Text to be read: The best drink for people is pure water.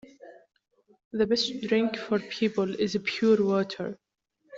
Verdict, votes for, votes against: accepted, 2, 0